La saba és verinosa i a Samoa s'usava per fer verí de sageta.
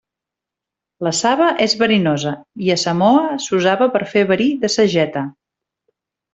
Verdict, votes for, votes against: accepted, 3, 0